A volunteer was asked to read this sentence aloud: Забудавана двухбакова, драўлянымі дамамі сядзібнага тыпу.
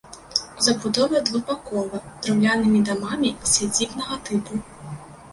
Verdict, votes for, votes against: rejected, 0, 2